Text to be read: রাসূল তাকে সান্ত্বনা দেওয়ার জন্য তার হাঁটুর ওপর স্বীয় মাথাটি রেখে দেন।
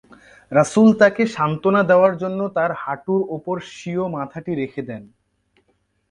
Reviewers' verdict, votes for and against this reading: accepted, 2, 0